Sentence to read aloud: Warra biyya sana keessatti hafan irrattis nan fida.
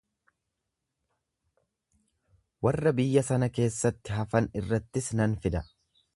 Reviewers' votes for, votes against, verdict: 2, 0, accepted